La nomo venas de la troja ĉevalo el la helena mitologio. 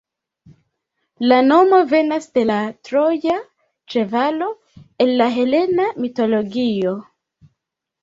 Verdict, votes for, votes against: rejected, 0, 2